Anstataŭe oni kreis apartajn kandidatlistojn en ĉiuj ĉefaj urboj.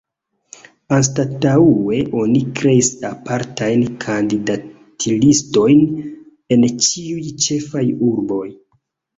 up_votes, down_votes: 1, 2